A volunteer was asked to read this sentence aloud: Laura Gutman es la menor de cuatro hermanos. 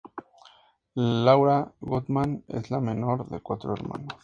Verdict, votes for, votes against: accepted, 2, 0